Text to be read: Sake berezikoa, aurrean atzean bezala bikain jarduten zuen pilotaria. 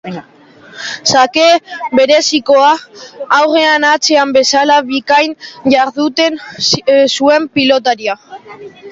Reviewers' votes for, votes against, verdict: 1, 2, rejected